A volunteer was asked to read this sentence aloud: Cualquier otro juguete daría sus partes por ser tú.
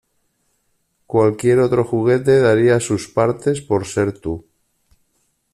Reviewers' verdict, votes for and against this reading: accepted, 2, 1